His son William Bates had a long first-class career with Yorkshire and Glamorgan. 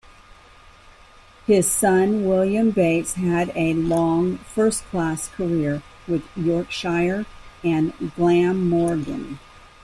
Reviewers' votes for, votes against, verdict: 2, 1, accepted